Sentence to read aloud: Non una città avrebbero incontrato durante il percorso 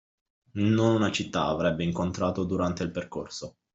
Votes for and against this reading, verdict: 1, 2, rejected